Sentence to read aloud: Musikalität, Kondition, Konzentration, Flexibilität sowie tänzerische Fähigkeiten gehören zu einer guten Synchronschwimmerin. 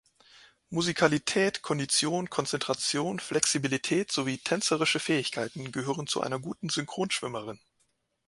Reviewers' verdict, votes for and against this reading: accepted, 2, 0